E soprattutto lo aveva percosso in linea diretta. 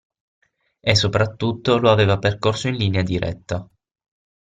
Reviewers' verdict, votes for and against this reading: accepted, 6, 0